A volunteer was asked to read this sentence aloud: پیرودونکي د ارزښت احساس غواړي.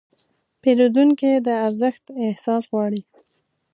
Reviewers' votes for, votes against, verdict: 2, 0, accepted